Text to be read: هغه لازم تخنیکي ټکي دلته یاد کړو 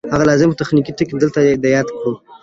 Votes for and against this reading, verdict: 2, 0, accepted